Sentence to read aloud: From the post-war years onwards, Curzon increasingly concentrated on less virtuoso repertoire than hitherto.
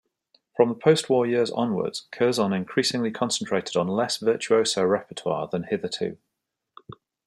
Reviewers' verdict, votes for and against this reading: accepted, 2, 0